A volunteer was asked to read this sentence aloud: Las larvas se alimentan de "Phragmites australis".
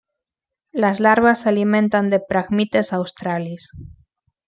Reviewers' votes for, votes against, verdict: 2, 0, accepted